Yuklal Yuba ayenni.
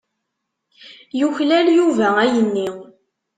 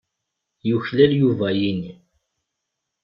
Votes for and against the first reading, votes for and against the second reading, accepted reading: 2, 0, 0, 2, first